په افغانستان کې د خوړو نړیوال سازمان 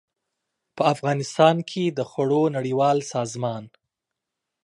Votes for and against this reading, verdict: 2, 0, accepted